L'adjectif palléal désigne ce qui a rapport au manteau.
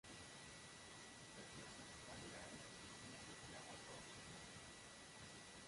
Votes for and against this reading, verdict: 0, 2, rejected